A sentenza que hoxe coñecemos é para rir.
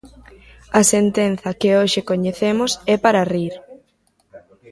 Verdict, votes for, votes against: rejected, 0, 2